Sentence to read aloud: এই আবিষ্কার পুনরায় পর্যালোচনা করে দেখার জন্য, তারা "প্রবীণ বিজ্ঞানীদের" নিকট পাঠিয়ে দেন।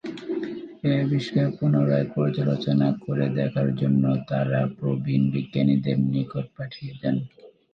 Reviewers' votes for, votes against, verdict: 0, 3, rejected